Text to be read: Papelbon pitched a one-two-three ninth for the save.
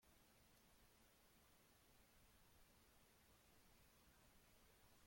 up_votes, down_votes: 0, 2